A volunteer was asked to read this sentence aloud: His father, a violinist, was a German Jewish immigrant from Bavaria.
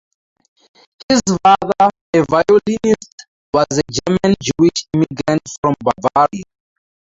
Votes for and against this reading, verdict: 0, 4, rejected